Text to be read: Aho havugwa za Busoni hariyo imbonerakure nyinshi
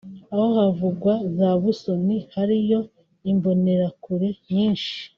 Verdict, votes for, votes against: rejected, 0, 2